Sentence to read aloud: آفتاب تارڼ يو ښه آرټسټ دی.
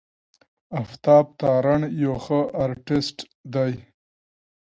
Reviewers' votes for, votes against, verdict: 2, 0, accepted